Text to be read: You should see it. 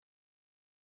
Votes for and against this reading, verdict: 0, 2, rejected